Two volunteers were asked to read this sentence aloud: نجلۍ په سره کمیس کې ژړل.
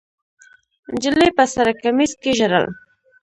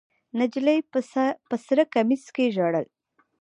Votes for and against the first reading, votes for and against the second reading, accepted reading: 0, 2, 2, 0, second